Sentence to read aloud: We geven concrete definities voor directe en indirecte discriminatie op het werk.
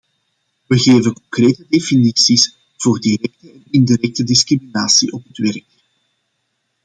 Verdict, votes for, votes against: rejected, 0, 2